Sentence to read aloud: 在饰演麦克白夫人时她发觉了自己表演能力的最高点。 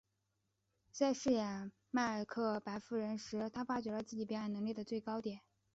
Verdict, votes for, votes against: accepted, 4, 0